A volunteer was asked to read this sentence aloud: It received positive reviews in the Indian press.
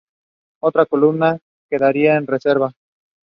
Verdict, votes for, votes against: rejected, 0, 2